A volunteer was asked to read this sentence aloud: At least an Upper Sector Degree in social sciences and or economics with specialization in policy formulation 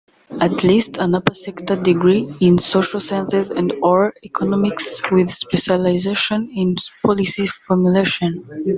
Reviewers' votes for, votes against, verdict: 0, 2, rejected